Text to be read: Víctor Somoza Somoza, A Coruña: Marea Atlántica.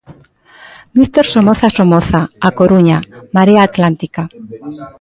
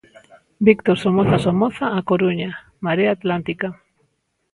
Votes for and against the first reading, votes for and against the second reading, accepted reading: 0, 2, 2, 0, second